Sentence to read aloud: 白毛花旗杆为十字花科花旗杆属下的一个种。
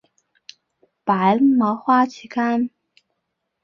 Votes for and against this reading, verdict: 0, 6, rejected